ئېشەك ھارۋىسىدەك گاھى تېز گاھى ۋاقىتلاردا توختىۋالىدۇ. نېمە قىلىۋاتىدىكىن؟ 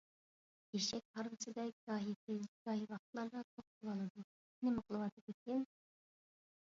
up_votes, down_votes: 0, 2